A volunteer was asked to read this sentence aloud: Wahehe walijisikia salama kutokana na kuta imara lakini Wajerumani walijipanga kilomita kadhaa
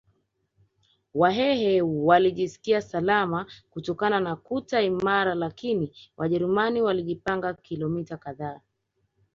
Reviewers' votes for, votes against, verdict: 3, 1, accepted